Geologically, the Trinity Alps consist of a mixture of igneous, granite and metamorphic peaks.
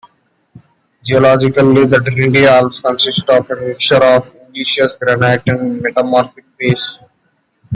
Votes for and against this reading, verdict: 0, 2, rejected